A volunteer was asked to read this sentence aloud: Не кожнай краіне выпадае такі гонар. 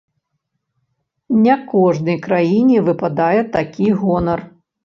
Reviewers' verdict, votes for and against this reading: accepted, 2, 0